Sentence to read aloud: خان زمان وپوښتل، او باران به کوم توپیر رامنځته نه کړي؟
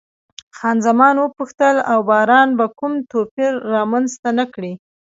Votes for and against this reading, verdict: 1, 2, rejected